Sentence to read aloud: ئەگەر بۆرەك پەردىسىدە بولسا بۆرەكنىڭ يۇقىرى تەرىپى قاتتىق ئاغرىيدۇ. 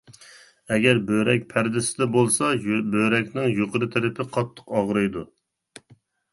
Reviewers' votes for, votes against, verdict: 1, 2, rejected